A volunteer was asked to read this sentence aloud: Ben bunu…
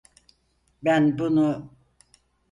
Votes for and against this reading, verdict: 4, 0, accepted